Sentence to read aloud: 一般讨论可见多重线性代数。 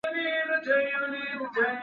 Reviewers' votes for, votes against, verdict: 0, 2, rejected